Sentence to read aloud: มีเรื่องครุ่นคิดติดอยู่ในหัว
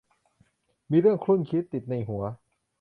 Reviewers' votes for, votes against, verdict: 0, 2, rejected